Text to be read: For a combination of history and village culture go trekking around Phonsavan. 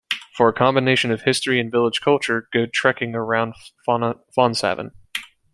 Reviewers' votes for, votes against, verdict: 0, 2, rejected